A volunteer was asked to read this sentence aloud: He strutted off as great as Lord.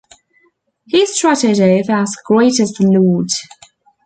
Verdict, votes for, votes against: rejected, 1, 2